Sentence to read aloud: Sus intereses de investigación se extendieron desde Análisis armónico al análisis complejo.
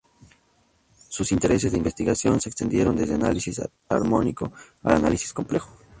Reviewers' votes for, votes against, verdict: 0, 2, rejected